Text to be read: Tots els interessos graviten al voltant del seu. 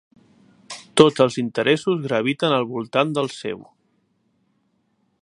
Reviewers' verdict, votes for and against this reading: accepted, 4, 0